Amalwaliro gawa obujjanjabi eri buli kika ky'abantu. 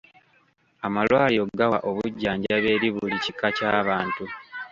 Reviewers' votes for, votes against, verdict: 2, 1, accepted